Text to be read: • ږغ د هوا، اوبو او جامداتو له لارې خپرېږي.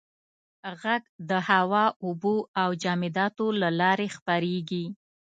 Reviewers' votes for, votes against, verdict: 1, 2, rejected